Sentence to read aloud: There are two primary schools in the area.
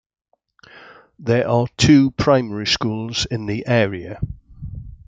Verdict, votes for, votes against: accepted, 2, 1